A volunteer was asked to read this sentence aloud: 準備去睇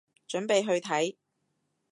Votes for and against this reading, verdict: 2, 0, accepted